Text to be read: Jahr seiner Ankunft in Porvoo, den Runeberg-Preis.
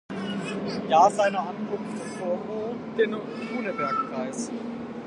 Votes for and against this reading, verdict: 4, 2, accepted